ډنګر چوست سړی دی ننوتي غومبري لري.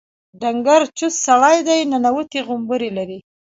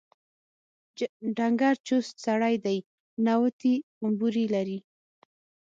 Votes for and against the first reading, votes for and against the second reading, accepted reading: 2, 0, 3, 6, first